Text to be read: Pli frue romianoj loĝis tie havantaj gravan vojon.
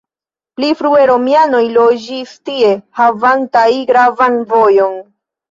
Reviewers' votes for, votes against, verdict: 3, 0, accepted